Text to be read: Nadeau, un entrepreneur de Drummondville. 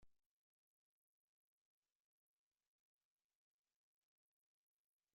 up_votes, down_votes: 0, 3